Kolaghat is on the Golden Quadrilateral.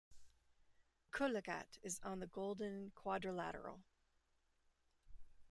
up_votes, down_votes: 0, 2